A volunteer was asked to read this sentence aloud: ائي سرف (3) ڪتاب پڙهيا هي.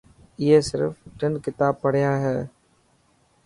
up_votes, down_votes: 0, 2